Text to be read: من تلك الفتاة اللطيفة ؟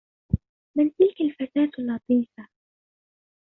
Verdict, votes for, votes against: rejected, 0, 2